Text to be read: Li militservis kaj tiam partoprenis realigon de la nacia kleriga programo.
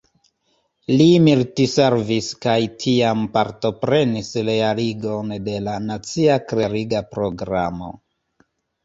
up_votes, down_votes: 0, 2